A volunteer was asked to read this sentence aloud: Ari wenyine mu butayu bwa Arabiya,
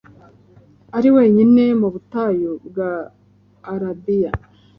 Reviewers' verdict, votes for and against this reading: accepted, 2, 0